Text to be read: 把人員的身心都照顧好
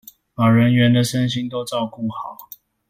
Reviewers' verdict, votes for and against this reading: accepted, 2, 1